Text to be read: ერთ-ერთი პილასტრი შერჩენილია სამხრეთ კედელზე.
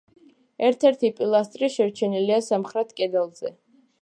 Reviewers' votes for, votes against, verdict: 2, 0, accepted